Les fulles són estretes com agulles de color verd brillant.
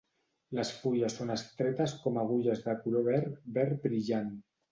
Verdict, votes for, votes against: rejected, 0, 2